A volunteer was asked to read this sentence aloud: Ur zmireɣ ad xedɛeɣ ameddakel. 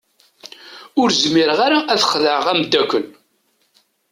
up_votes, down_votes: 1, 2